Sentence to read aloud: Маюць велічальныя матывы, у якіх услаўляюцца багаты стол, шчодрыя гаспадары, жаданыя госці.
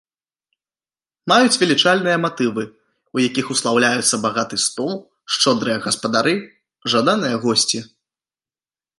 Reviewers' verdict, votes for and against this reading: accepted, 2, 0